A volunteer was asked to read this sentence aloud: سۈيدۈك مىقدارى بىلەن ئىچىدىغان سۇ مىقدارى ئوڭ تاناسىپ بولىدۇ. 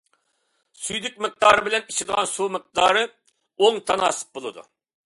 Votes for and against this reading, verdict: 2, 0, accepted